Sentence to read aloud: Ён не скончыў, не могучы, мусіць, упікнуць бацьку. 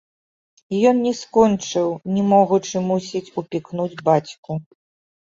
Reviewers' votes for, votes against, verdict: 2, 0, accepted